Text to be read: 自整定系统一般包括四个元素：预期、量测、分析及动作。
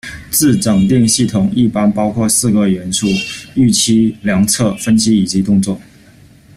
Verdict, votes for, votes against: rejected, 0, 2